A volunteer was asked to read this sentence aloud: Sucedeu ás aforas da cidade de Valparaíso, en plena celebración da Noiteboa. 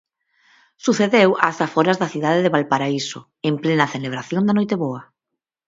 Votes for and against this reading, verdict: 4, 0, accepted